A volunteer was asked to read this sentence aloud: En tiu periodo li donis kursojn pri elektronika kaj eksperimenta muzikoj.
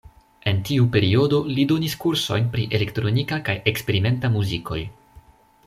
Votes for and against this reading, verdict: 2, 0, accepted